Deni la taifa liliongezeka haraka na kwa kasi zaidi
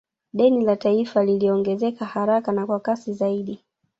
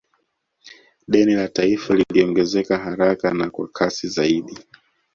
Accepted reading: second